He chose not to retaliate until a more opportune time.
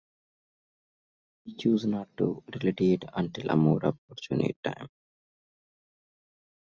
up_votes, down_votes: 1, 2